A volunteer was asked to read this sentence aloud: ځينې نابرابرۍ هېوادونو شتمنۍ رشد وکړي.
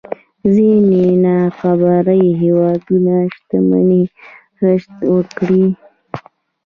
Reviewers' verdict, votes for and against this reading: accepted, 2, 0